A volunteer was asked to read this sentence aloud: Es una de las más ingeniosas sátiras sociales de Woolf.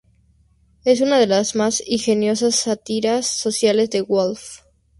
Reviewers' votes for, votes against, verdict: 0, 4, rejected